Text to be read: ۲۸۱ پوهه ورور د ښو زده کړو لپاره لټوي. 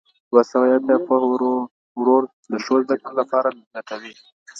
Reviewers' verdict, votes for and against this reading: rejected, 0, 2